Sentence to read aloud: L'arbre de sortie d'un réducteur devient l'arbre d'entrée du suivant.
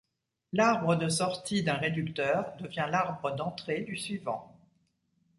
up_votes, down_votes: 2, 0